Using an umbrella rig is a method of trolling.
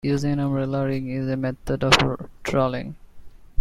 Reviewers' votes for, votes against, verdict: 0, 2, rejected